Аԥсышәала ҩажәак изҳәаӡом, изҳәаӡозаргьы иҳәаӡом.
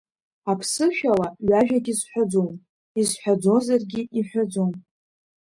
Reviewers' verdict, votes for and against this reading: accepted, 3, 0